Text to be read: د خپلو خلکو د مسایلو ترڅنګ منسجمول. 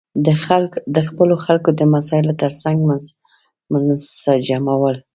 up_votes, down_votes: 0, 2